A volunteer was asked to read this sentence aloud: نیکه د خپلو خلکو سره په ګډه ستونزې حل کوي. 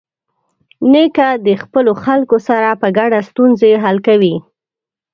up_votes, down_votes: 0, 2